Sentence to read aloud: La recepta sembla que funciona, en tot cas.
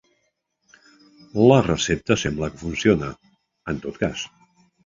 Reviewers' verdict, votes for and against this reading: accepted, 3, 0